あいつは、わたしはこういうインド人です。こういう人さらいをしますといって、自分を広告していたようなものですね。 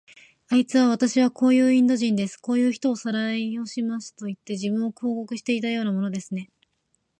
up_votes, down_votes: 0, 2